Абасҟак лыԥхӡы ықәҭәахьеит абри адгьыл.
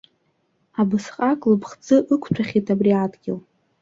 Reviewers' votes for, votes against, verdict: 2, 0, accepted